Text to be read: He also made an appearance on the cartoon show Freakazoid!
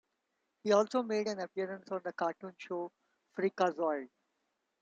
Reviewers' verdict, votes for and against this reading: accepted, 2, 0